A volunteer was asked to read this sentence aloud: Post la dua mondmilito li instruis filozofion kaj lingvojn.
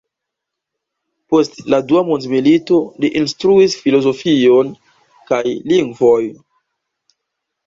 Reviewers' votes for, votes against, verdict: 1, 2, rejected